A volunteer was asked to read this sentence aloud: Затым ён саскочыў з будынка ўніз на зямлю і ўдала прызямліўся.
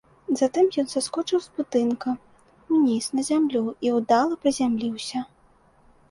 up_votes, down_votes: 2, 0